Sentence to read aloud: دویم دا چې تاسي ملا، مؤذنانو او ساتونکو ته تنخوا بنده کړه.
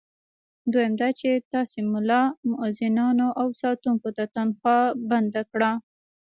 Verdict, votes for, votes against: rejected, 1, 2